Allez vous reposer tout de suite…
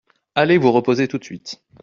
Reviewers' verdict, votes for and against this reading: accepted, 2, 0